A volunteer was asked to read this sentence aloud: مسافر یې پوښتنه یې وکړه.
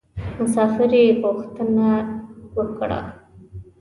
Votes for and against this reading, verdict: 2, 1, accepted